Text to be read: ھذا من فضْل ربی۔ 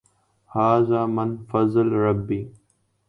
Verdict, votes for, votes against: rejected, 0, 2